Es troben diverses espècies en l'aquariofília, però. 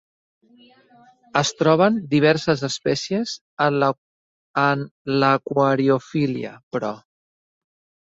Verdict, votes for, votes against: rejected, 0, 2